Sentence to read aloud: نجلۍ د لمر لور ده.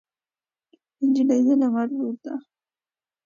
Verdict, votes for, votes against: accepted, 2, 0